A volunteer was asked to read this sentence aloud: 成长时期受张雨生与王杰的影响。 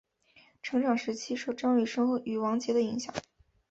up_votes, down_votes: 4, 0